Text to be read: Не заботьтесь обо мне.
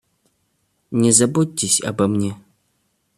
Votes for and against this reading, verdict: 2, 1, accepted